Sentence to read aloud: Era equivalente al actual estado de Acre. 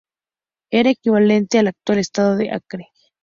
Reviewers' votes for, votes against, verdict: 4, 0, accepted